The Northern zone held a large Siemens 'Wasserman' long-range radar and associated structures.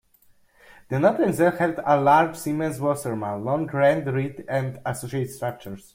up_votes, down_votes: 0, 2